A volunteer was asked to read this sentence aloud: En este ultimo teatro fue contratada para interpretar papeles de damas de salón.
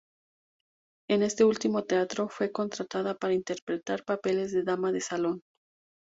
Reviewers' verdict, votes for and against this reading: accepted, 2, 0